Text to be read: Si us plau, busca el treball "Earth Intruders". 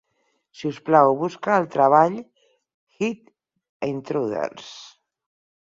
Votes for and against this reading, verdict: 0, 4, rejected